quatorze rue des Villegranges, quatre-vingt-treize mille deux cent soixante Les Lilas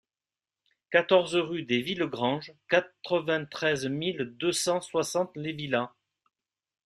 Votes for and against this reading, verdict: 2, 0, accepted